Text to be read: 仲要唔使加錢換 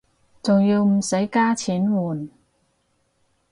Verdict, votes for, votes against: accepted, 4, 0